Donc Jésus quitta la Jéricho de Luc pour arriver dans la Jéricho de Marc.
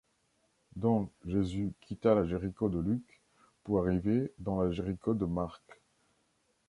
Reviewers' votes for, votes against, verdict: 2, 0, accepted